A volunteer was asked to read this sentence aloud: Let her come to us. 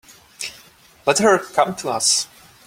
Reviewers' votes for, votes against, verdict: 2, 1, accepted